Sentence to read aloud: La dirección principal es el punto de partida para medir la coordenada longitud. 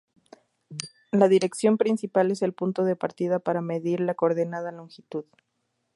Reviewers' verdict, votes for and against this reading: accepted, 2, 0